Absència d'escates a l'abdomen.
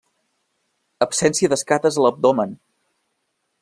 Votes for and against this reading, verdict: 1, 2, rejected